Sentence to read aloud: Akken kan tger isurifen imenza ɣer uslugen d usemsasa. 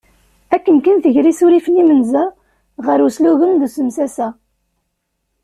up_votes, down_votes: 2, 0